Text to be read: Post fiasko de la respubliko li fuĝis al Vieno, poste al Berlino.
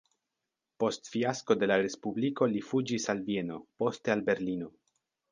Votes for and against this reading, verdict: 2, 0, accepted